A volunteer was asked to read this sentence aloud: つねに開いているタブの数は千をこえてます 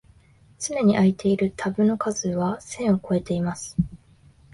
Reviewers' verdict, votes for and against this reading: rejected, 0, 4